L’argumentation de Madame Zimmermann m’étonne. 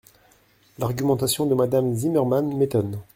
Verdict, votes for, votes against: accepted, 2, 1